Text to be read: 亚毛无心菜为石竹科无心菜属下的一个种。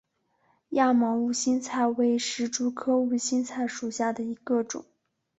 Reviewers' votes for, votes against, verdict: 1, 2, rejected